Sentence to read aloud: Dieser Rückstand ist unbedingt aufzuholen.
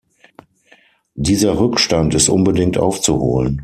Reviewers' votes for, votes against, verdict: 6, 0, accepted